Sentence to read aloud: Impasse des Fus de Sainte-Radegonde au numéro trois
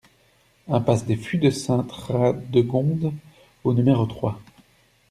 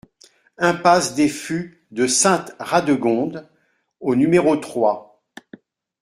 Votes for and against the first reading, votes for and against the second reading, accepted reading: 1, 2, 2, 0, second